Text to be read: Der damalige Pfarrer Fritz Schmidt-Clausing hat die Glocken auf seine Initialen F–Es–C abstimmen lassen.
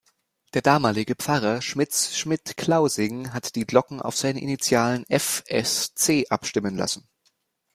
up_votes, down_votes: 0, 2